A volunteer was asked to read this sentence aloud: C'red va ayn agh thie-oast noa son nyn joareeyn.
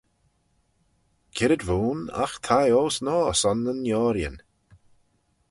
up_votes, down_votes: 0, 4